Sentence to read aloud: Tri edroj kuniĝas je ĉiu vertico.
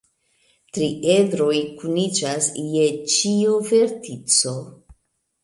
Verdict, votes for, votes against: accepted, 2, 0